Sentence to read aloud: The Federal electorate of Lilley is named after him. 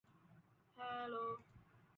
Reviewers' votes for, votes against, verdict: 0, 2, rejected